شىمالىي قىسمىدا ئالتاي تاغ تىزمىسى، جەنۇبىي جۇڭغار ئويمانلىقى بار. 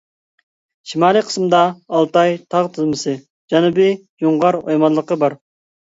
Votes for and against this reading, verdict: 2, 0, accepted